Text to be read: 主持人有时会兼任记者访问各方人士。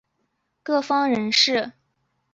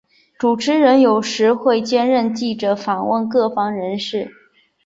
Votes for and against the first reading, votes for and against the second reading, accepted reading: 0, 2, 2, 0, second